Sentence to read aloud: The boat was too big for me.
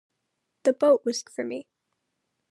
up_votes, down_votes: 0, 2